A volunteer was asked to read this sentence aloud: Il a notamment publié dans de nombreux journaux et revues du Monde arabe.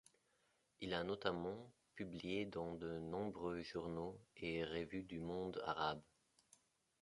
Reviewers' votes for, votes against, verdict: 1, 2, rejected